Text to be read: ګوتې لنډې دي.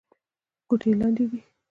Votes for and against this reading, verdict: 2, 1, accepted